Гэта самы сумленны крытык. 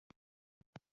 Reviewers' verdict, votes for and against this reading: rejected, 0, 2